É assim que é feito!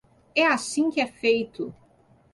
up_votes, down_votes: 2, 0